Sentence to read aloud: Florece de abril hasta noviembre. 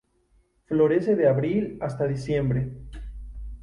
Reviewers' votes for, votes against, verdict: 0, 2, rejected